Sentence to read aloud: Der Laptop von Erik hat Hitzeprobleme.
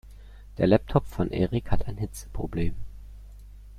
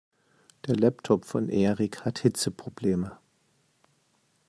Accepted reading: second